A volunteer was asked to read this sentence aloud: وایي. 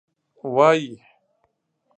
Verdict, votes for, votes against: accepted, 2, 0